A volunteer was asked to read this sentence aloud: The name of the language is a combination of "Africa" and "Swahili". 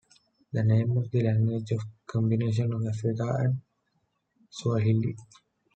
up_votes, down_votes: 1, 2